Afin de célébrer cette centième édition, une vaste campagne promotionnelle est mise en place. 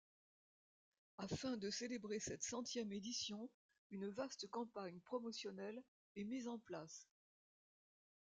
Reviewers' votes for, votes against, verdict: 0, 2, rejected